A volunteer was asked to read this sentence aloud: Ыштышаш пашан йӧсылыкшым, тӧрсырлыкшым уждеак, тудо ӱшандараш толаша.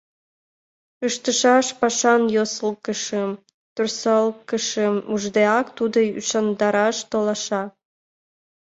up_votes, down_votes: 0, 2